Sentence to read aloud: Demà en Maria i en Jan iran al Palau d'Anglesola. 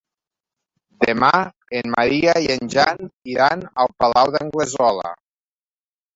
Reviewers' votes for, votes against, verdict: 2, 0, accepted